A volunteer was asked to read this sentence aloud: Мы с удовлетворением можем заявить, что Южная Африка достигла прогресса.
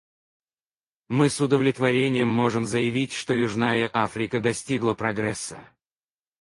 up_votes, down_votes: 2, 2